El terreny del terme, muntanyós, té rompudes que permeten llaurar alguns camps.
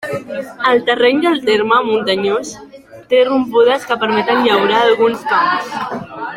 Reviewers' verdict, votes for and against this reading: accepted, 3, 1